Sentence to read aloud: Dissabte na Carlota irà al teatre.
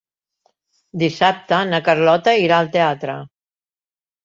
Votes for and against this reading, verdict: 3, 0, accepted